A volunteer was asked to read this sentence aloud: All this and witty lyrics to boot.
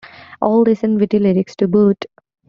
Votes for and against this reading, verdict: 2, 1, accepted